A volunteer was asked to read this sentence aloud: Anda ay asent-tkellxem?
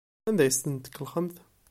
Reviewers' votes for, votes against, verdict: 1, 2, rejected